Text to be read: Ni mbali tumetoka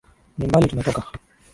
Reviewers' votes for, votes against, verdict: 2, 0, accepted